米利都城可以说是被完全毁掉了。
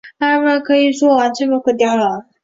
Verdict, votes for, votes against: rejected, 0, 2